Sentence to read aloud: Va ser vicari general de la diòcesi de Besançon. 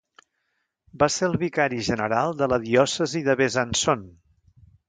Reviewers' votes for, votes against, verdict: 1, 2, rejected